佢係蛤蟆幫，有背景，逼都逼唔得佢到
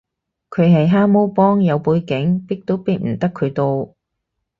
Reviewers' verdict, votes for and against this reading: accepted, 2, 0